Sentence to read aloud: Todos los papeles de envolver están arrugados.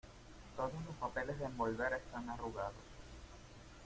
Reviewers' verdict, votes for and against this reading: rejected, 1, 2